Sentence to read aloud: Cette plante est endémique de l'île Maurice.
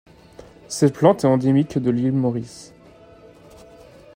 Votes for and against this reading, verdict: 2, 0, accepted